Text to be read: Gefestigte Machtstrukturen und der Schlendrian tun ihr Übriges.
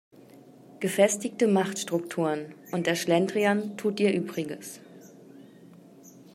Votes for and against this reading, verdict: 1, 2, rejected